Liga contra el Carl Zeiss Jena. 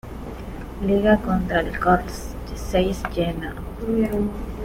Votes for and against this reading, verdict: 2, 1, accepted